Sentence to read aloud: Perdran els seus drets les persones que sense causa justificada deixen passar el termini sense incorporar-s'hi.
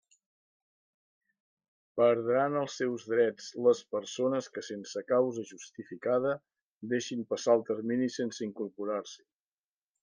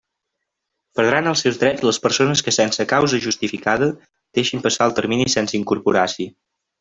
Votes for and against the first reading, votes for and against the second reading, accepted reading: 1, 2, 2, 1, second